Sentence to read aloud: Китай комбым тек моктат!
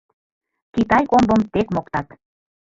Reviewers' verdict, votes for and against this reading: rejected, 0, 2